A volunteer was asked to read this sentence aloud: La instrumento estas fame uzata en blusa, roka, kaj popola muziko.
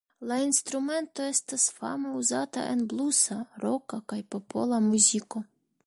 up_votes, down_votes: 2, 0